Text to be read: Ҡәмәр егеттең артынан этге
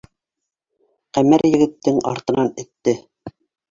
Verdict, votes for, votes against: rejected, 1, 2